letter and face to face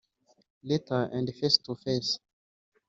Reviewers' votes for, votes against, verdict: 0, 2, rejected